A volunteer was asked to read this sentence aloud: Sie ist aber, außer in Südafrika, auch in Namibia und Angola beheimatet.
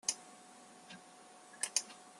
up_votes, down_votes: 0, 2